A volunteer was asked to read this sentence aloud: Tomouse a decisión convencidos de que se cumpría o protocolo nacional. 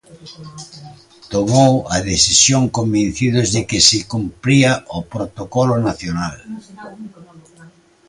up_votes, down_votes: 0, 2